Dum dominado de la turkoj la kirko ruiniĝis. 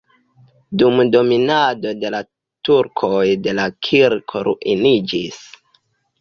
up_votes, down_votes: 1, 2